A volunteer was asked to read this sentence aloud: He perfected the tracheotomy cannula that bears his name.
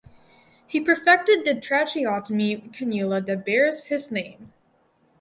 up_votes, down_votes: 4, 0